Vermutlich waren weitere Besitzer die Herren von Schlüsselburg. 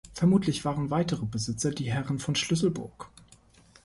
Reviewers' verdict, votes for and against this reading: accepted, 2, 0